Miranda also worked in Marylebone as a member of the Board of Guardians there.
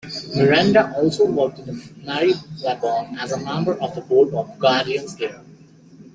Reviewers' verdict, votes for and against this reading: rejected, 1, 2